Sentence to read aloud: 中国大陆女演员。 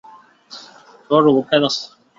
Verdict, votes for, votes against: rejected, 1, 6